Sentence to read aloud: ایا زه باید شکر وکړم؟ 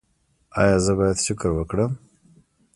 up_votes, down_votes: 0, 2